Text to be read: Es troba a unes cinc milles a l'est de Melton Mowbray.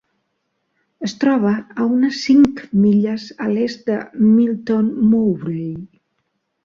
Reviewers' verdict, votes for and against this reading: accepted, 3, 0